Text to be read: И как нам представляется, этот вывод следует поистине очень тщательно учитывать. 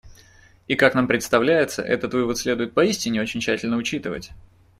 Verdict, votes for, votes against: accepted, 2, 0